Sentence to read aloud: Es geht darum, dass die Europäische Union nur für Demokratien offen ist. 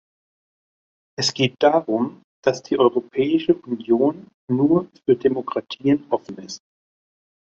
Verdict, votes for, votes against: accepted, 2, 0